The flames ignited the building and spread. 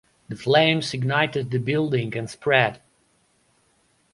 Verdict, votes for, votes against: accepted, 2, 0